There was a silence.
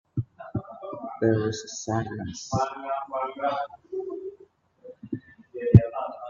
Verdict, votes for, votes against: rejected, 1, 2